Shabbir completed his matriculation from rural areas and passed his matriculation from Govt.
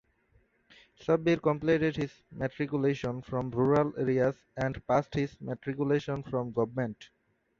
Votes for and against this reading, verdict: 2, 1, accepted